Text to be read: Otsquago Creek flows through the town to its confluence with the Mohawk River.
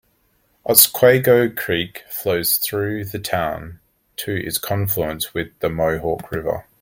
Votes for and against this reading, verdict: 2, 0, accepted